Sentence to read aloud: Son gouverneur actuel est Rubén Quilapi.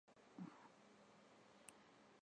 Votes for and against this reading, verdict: 0, 2, rejected